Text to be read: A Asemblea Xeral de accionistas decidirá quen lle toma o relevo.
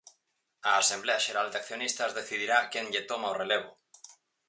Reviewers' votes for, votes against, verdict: 4, 0, accepted